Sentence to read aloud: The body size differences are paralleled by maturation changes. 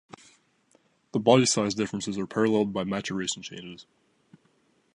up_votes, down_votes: 2, 1